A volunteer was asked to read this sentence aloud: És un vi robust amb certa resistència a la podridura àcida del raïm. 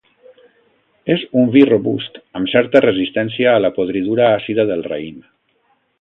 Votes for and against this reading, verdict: 2, 1, accepted